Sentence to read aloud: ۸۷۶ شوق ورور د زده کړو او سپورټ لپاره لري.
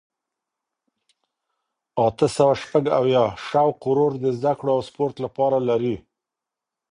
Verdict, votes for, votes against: rejected, 0, 2